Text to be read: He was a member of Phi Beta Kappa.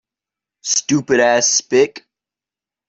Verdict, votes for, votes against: rejected, 0, 2